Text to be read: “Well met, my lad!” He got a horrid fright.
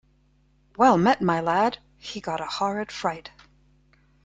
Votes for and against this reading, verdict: 2, 0, accepted